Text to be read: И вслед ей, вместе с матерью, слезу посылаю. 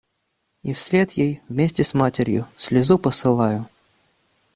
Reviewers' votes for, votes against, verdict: 2, 0, accepted